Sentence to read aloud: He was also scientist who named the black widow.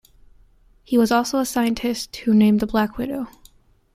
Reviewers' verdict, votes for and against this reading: accepted, 2, 0